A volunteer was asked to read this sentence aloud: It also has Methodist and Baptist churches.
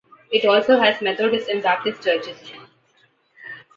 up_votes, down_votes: 2, 0